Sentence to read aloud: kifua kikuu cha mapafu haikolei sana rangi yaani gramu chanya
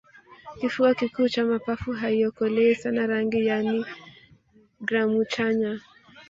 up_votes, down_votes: 1, 2